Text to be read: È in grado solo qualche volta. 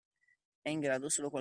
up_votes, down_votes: 1, 2